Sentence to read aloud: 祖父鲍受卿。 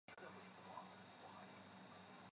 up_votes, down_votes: 0, 2